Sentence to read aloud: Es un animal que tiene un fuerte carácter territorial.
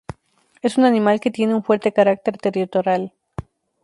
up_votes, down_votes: 2, 2